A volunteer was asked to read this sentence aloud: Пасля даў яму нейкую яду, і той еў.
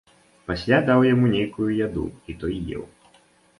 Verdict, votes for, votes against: accepted, 2, 0